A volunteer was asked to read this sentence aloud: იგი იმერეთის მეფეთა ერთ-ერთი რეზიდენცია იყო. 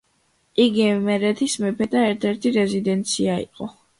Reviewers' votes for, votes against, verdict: 2, 0, accepted